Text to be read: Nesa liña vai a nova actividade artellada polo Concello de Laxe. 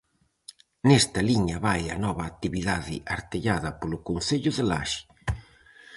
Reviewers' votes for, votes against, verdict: 0, 4, rejected